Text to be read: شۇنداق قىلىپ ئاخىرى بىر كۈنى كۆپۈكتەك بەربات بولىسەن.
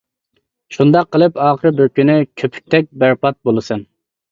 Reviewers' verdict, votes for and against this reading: accepted, 2, 0